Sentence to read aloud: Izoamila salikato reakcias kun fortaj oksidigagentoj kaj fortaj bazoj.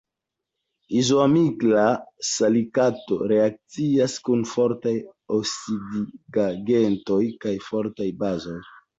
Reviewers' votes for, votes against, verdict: 0, 2, rejected